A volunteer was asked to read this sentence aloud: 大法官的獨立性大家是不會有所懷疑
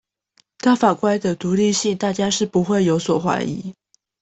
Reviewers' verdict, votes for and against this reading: accepted, 2, 0